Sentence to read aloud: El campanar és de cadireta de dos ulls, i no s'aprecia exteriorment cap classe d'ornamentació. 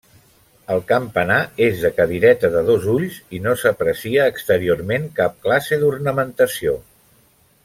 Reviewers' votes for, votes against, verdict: 3, 0, accepted